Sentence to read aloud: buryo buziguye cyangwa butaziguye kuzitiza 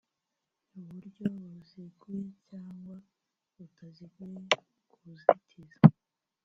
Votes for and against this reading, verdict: 1, 2, rejected